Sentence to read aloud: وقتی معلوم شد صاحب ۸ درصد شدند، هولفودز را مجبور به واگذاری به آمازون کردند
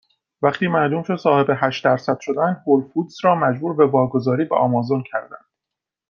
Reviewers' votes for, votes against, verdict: 0, 2, rejected